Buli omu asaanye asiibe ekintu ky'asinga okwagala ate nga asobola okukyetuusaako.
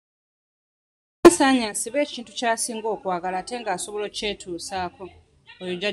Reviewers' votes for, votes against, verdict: 0, 2, rejected